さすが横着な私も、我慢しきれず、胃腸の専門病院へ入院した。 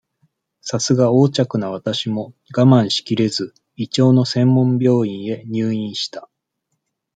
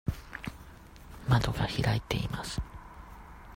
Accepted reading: first